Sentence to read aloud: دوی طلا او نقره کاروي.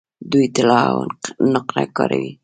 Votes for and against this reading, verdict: 2, 0, accepted